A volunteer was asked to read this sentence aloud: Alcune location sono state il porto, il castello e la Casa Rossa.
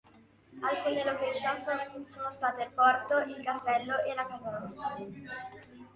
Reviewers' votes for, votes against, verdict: 0, 2, rejected